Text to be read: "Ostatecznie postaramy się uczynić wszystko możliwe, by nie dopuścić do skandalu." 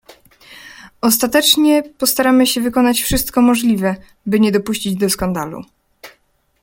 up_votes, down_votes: 0, 2